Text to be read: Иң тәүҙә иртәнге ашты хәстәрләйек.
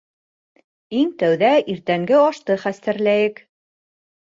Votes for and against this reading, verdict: 2, 1, accepted